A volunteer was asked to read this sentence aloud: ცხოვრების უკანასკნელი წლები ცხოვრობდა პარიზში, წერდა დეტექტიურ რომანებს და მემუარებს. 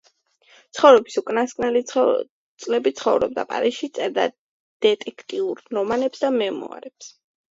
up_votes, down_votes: 2, 0